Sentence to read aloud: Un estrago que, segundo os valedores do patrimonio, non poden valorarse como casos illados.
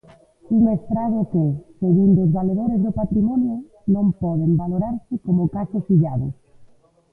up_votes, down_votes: 0, 2